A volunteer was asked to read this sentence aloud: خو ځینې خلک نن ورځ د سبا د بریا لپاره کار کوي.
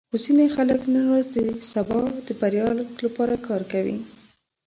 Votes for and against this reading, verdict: 0, 2, rejected